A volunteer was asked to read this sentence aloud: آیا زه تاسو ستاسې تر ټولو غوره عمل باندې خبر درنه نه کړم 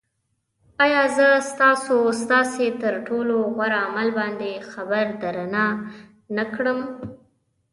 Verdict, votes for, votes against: rejected, 1, 2